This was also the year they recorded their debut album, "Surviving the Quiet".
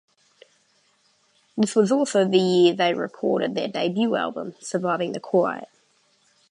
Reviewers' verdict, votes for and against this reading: accepted, 2, 0